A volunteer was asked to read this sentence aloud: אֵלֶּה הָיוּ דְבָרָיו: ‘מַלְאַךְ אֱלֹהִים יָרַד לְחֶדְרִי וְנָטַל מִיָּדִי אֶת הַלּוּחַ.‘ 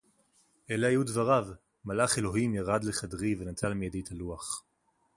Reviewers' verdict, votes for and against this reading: accepted, 4, 0